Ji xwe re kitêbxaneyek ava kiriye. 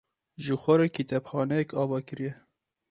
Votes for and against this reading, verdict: 2, 2, rejected